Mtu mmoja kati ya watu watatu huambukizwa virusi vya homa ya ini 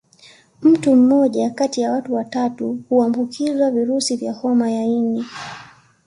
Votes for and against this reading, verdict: 2, 0, accepted